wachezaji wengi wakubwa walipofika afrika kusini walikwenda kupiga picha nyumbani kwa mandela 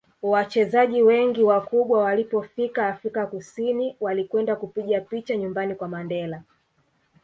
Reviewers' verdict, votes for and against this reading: rejected, 1, 2